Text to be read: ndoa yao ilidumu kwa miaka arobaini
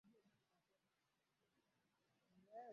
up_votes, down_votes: 2, 10